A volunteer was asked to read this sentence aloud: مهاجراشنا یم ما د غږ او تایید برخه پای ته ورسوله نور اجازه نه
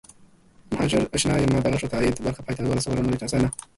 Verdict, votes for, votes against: rejected, 0, 2